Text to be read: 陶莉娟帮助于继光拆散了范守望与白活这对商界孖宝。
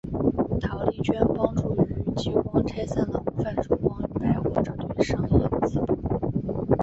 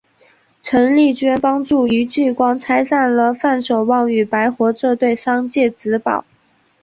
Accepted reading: second